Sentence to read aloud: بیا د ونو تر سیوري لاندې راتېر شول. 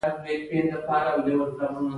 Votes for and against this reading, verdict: 0, 2, rejected